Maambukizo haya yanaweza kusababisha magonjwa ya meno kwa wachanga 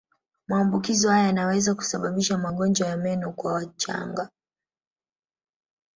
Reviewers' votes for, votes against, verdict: 1, 2, rejected